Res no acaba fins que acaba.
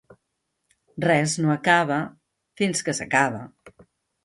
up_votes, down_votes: 1, 2